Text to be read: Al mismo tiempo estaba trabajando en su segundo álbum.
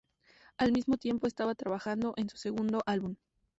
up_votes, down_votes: 2, 2